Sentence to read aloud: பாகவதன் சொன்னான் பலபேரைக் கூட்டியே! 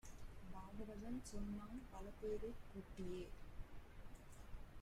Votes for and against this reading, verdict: 1, 2, rejected